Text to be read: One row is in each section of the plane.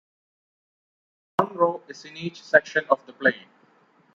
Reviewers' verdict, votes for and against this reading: accepted, 2, 0